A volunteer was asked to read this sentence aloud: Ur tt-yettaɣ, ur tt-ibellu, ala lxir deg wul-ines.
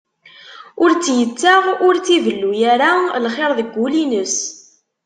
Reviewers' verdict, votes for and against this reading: rejected, 0, 2